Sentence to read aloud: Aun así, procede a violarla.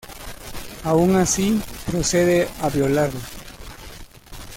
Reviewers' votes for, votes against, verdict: 0, 2, rejected